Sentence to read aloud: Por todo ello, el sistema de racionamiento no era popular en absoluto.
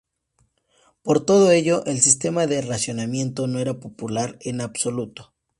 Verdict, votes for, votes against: accepted, 2, 0